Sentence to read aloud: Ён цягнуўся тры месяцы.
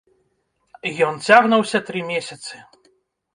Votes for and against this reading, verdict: 0, 2, rejected